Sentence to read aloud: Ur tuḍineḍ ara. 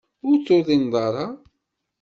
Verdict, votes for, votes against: accepted, 2, 0